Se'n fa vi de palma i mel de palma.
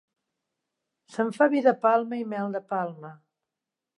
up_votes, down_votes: 2, 0